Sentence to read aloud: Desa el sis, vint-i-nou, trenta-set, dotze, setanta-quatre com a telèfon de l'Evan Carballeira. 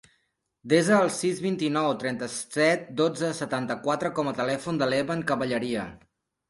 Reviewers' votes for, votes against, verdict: 0, 3, rejected